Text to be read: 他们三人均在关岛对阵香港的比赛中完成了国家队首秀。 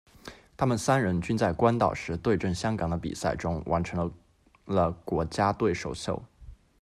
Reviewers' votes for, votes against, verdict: 1, 2, rejected